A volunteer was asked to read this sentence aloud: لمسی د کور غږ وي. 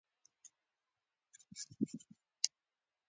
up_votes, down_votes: 1, 2